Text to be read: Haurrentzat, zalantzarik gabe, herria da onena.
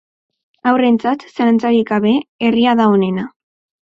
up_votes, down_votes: 4, 2